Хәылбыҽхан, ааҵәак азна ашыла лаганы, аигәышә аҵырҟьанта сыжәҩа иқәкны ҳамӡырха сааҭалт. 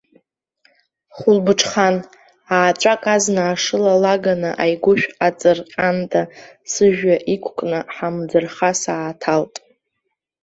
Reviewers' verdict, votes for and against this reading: rejected, 1, 2